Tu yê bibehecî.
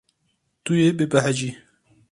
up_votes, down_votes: 0, 2